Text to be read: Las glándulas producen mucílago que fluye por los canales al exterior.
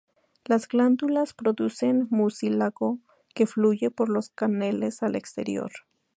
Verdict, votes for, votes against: rejected, 0, 2